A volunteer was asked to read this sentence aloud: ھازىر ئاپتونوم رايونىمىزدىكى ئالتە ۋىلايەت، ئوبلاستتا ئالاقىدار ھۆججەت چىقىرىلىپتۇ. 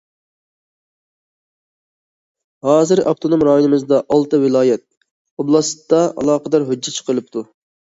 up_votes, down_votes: 0, 2